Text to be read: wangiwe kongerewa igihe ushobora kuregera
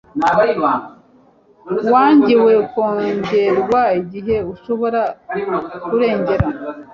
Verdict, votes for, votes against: rejected, 1, 2